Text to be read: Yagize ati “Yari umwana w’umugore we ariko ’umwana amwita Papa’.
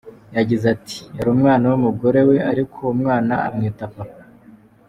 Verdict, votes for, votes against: accepted, 3, 0